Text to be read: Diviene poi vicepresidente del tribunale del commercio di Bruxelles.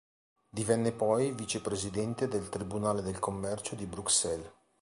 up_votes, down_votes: 0, 2